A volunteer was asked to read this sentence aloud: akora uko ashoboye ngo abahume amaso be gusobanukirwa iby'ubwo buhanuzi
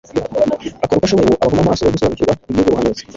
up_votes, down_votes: 1, 2